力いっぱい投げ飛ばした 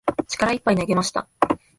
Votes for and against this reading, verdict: 1, 2, rejected